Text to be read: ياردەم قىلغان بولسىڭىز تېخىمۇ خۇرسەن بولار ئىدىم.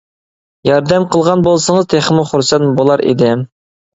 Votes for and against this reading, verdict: 2, 0, accepted